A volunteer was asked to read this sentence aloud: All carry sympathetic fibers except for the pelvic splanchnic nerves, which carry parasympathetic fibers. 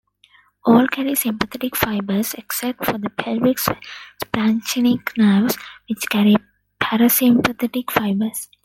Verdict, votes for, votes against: accepted, 2, 0